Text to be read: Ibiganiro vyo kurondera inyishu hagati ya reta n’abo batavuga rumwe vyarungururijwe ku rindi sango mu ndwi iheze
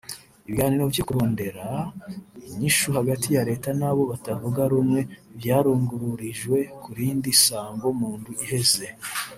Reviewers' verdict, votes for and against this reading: rejected, 1, 2